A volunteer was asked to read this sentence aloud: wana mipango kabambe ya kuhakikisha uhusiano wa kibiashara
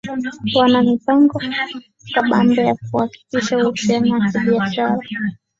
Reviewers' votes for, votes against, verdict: 2, 0, accepted